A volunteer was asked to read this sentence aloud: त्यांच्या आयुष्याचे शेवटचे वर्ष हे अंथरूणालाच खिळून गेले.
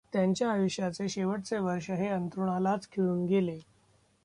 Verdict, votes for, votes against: accepted, 2, 1